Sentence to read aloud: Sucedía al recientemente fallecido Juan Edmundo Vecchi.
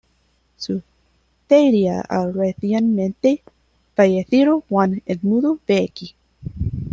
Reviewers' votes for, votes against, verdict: 0, 2, rejected